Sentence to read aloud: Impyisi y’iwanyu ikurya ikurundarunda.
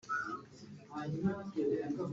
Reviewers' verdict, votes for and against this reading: rejected, 1, 2